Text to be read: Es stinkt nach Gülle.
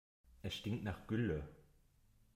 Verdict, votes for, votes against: accepted, 2, 0